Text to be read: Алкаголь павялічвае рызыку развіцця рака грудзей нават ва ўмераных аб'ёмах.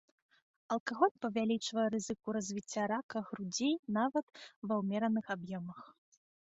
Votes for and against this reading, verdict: 2, 0, accepted